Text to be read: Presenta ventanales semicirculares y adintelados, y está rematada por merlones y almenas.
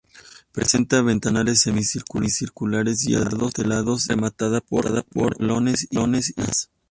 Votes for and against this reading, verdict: 0, 2, rejected